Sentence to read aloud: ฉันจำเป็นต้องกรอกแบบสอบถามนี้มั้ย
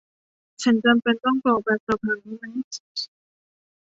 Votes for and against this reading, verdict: 1, 2, rejected